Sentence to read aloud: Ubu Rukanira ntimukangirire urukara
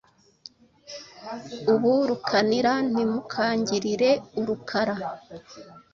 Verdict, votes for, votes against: accepted, 2, 0